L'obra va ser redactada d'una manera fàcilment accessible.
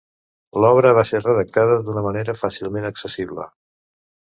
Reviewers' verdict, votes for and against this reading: accepted, 2, 0